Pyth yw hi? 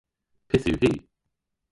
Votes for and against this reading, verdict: 1, 2, rejected